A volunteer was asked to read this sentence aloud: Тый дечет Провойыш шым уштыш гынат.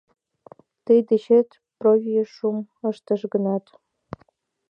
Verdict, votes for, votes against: rejected, 0, 2